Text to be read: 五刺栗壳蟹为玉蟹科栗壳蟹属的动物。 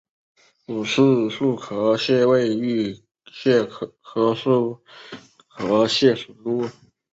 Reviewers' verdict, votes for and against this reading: rejected, 0, 3